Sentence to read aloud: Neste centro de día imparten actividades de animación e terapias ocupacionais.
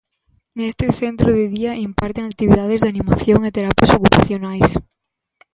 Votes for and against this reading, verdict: 2, 0, accepted